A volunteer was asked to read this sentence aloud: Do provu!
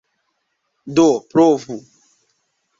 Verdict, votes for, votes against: accepted, 2, 0